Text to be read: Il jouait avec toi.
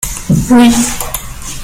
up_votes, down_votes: 0, 2